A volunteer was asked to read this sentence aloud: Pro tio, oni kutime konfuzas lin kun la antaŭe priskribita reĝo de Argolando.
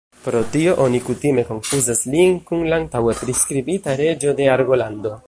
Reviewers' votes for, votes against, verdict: 2, 0, accepted